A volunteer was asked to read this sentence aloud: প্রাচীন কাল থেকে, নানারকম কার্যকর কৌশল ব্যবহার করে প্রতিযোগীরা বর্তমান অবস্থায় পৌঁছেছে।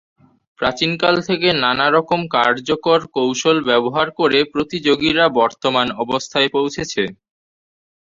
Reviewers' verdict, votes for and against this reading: accepted, 2, 0